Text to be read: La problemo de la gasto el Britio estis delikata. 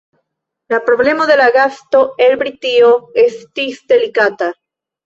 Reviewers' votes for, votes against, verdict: 2, 0, accepted